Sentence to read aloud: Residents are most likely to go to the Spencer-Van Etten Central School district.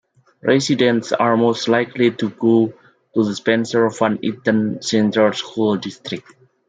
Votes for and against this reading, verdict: 0, 2, rejected